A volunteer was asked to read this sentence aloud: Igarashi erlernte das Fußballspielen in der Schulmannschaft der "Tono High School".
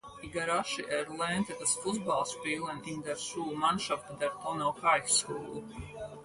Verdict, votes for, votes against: accepted, 4, 0